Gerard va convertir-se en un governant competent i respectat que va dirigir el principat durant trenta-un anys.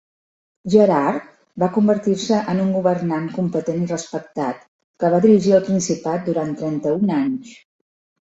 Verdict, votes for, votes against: accepted, 4, 0